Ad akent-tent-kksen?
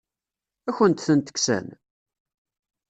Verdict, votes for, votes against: accepted, 2, 0